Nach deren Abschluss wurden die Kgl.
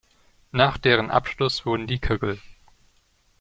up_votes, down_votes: 0, 2